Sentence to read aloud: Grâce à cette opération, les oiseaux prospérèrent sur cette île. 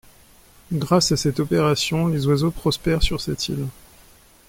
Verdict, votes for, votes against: accepted, 2, 1